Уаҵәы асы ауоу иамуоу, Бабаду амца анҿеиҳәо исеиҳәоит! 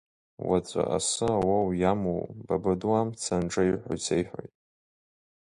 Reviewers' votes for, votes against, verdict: 2, 0, accepted